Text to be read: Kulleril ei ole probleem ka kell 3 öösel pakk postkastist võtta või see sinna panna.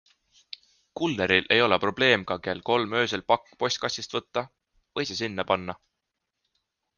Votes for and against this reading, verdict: 0, 2, rejected